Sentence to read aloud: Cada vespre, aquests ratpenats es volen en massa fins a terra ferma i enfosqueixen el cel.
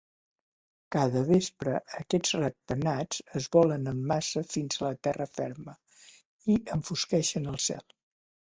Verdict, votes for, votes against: accepted, 2, 0